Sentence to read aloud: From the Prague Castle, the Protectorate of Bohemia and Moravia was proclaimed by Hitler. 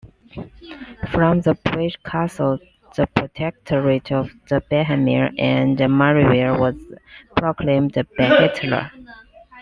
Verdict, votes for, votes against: rejected, 0, 2